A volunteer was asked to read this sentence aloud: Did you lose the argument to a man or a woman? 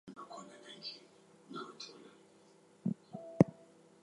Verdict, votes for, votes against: accepted, 2, 0